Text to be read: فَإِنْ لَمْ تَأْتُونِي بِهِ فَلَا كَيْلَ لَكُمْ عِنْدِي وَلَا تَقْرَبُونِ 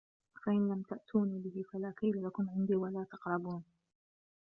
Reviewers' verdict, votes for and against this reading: rejected, 0, 2